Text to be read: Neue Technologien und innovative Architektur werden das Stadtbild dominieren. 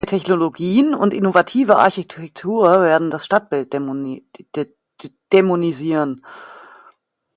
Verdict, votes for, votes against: rejected, 0, 2